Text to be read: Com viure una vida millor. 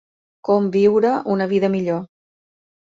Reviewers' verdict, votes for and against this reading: accepted, 2, 0